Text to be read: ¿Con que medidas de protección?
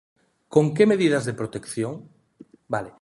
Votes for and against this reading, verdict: 0, 2, rejected